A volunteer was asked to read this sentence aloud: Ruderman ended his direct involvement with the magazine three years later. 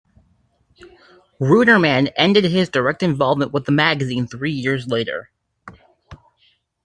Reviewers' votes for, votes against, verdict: 2, 1, accepted